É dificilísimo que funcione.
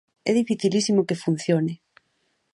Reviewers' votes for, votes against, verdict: 2, 0, accepted